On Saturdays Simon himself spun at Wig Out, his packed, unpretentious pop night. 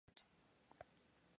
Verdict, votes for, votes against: rejected, 0, 2